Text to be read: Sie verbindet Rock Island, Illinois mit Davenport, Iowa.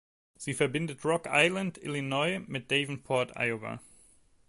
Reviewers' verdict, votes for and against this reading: accepted, 2, 0